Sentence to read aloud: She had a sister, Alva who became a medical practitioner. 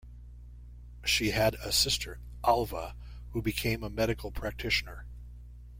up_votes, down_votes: 2, 0